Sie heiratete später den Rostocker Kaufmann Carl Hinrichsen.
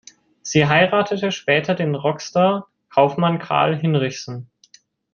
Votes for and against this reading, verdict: 1, 2, rejected